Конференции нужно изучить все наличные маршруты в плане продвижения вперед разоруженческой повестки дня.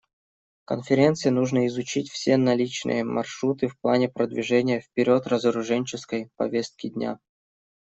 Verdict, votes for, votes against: accepted, 2, 0